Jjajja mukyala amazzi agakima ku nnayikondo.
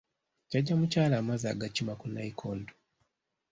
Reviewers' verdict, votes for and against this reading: accepted, 2, 0